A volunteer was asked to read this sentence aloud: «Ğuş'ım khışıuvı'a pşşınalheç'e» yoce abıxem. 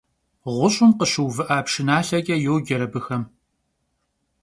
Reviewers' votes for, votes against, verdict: 2, 0, accepted